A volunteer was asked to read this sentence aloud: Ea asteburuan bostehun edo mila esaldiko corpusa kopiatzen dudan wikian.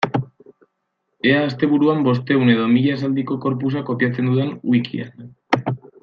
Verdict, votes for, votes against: accepted, 2, 0